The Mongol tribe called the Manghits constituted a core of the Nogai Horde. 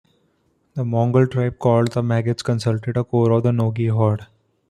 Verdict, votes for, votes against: rejected, 0, 2